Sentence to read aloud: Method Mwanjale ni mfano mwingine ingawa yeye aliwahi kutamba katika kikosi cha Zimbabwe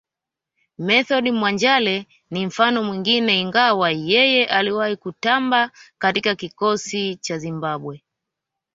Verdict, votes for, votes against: accepted, 2, 0